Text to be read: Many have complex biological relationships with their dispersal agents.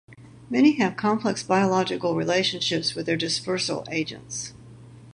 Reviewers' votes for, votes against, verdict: 4, 0, accepted